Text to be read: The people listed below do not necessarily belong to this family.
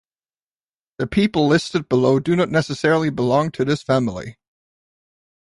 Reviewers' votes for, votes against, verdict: 2, 0, accepted